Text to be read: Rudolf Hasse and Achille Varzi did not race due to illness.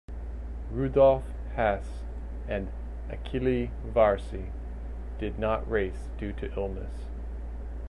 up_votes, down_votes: 2, 0